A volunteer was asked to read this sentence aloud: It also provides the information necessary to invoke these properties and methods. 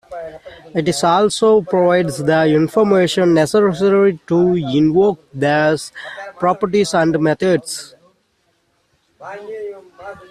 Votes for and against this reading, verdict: 0, 3, rejected